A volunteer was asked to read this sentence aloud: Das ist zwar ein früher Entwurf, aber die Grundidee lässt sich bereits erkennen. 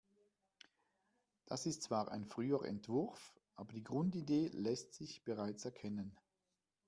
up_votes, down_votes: 2, 0